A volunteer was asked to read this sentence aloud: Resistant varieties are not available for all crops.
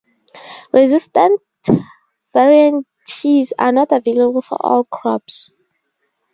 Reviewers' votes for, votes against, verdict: 0, 2, rejected